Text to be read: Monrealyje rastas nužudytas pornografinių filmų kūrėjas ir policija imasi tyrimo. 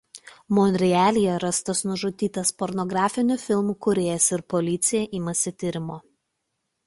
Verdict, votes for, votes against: accepted, 2, 0